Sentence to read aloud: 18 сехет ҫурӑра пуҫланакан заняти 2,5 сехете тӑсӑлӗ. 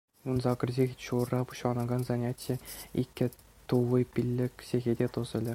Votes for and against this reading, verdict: 0, 2, rejected